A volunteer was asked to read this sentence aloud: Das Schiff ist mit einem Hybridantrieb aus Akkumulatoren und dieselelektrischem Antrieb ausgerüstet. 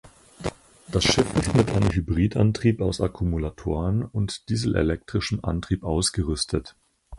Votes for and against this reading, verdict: 2, 4, rejected